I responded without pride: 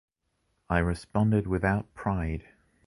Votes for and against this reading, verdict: 2, 0, accepted